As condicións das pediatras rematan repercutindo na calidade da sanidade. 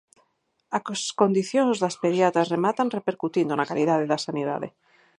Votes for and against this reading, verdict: 0, 4, rejected